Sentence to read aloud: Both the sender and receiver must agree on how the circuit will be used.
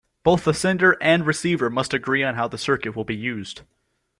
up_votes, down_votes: 2, 0